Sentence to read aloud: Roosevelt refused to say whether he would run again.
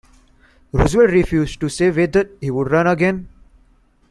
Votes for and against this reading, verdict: 1, 2, rejected